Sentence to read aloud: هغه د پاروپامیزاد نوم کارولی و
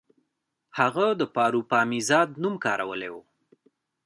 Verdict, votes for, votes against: accepted, 2, 0